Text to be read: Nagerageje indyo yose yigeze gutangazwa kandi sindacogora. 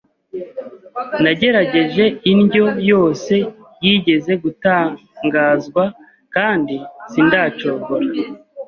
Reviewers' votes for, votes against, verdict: 2, 0, accepted